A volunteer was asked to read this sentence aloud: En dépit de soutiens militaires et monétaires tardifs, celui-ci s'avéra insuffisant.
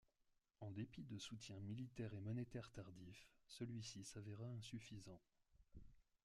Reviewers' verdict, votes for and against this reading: rejected, 1, 2